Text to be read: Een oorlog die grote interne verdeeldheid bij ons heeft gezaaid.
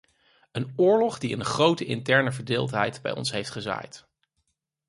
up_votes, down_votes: 0, 4